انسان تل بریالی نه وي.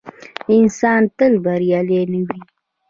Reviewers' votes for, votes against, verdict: 0, 2, rejected